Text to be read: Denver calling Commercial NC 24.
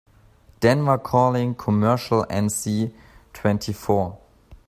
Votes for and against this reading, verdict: 0, 2, rejected